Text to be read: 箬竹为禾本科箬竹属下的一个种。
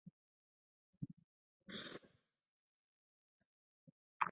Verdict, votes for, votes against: rejected, 0, 4